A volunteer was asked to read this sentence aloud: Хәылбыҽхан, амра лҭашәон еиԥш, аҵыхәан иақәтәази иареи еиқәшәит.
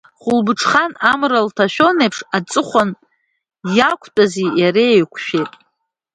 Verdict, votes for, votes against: rejected, 0, 2